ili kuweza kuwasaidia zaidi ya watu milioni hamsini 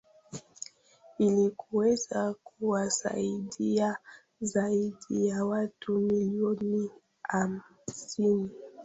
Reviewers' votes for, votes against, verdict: 2, 1, accepted